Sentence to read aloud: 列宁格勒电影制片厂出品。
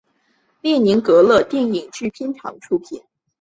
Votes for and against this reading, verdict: 3, 0, accepted